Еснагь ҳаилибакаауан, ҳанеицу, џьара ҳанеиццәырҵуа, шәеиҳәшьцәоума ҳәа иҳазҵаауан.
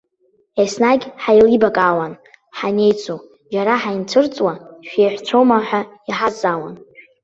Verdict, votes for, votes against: rejected, 1, 2